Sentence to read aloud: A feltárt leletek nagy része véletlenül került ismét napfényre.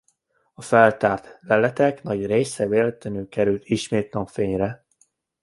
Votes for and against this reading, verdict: 2, 1, accepted